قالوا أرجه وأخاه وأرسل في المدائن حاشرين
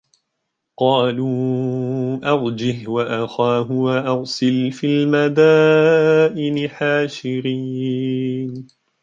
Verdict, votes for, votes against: rejected, 0, 2